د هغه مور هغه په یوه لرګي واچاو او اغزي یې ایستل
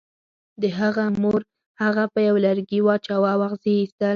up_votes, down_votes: 4, 0